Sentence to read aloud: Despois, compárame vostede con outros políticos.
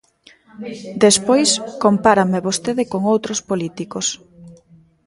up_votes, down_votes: 1, 2